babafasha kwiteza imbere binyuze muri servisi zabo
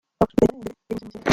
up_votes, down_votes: 0, 2